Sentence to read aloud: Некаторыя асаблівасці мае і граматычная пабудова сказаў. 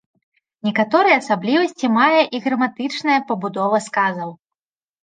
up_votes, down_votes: 3, 0